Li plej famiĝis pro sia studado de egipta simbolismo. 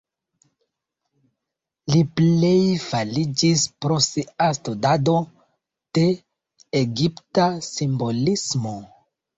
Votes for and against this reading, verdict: 2, 0, accepted